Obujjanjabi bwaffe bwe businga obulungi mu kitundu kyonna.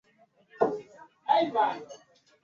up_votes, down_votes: 0, 2